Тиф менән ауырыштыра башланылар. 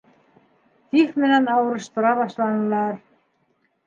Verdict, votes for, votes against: accepted, 2, 0